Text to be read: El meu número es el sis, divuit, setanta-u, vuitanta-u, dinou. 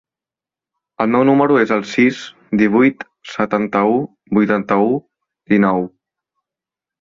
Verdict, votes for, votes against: accepted, 2, 1